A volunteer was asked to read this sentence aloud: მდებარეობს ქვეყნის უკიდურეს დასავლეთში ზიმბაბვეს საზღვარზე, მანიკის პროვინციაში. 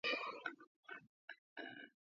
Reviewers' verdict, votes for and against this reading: rejected, 0, 2